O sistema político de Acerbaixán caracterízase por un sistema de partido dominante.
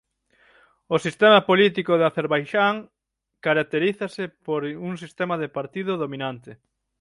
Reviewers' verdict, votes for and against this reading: rejected, 0, 6